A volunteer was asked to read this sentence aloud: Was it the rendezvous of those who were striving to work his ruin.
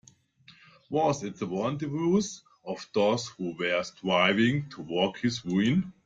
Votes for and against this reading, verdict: 1, 2, rejected